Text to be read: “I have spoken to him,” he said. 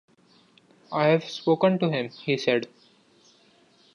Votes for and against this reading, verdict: 2, 0, accepted